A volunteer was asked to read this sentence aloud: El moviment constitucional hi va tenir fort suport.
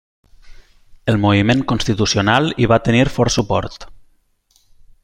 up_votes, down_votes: 3, 0